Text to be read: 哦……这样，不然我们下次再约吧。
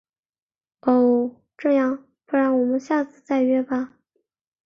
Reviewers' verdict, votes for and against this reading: accepted, 2, 0